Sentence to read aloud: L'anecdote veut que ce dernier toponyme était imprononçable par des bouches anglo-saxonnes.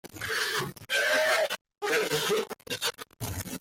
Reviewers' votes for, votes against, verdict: 0, 2, rejected